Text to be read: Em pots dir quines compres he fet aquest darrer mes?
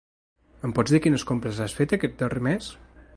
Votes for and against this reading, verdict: 0, 2, rejected